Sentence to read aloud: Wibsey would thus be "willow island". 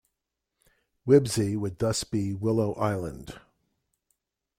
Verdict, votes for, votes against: accepted, 2, 0